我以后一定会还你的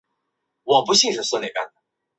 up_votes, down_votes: 0, 2